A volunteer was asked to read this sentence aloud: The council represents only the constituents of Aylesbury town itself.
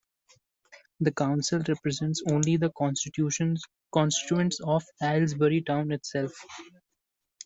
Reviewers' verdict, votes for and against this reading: rejected, 1, 2